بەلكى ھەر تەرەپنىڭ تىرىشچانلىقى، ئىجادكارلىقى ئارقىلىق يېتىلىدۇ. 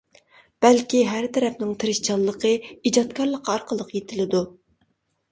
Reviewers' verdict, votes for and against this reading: accepted, 2, 0